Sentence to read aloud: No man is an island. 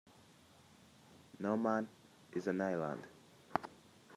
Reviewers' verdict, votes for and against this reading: accepted, 2, 0